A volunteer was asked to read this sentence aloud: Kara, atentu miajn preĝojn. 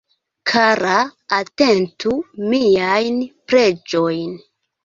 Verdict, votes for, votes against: rejected, 1, 2